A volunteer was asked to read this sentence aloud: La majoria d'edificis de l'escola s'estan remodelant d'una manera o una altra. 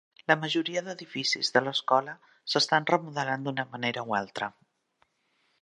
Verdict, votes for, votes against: rejected, 0, 2